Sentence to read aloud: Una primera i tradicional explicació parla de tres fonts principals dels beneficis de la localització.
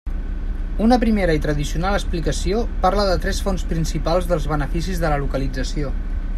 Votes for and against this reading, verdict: 2, 0, accepted